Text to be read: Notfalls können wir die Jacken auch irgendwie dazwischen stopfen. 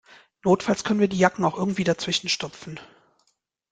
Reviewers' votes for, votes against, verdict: 2, 0, accepted